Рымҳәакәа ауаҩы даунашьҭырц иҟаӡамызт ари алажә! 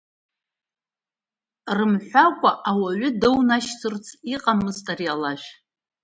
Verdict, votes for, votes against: accepted, 2, 1